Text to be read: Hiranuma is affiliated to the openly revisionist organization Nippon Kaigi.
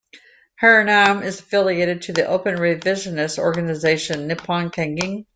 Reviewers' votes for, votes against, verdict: 2, 1, accepted